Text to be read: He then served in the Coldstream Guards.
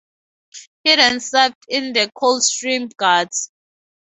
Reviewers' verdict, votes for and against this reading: accepted, 2, 0